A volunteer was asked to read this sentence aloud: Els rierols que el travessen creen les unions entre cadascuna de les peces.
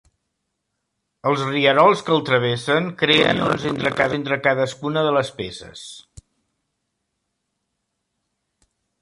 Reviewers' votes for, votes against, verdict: 0, 2, rejected